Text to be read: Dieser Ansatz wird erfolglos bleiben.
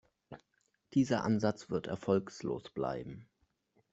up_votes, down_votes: 1, 2